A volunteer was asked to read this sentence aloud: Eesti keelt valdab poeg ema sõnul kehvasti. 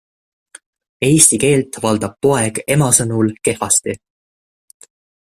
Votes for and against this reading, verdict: 2, 0, accepted